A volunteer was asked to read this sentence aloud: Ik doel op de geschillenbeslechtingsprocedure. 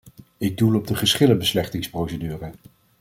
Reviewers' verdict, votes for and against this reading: accepted, 2, 0